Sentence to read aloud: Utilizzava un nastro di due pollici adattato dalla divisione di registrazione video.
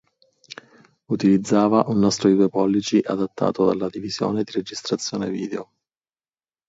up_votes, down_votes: 4, 2